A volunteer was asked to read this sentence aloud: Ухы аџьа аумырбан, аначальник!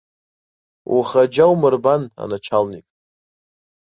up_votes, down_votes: 1, 2